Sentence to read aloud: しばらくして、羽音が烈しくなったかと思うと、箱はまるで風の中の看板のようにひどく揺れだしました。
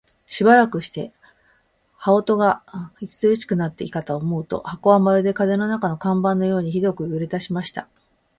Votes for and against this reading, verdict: 2, 3, rejected